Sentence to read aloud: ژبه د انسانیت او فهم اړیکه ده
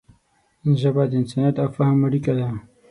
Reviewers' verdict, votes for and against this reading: accepted, 6, 0